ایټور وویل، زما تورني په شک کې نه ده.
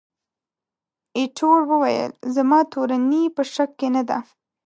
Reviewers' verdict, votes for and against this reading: accepted, 2, 0